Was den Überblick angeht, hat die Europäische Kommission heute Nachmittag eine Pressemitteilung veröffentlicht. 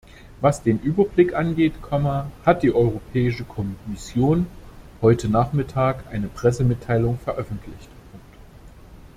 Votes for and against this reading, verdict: 0, 2, rejected